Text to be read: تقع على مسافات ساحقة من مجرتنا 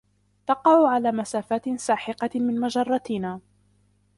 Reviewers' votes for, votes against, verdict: 0, 2, rejected